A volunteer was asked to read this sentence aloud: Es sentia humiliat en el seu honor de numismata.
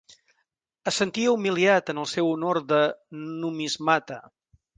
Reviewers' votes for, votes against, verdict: 4, 0, accepted